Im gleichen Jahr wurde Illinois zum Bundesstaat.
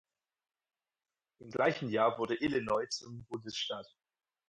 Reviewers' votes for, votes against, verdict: 0, 4, rejected